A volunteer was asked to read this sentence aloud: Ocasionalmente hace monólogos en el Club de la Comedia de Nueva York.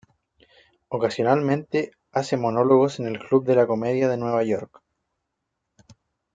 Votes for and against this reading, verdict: 2, 0, accepted